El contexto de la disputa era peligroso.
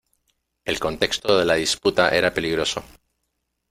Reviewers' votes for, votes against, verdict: 1, 2, rejected